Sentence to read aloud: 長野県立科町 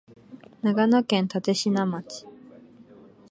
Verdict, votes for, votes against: accepted, 13, 0